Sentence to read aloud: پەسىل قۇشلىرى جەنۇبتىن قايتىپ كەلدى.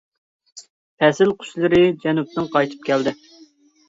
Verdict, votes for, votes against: accepted, 2, 0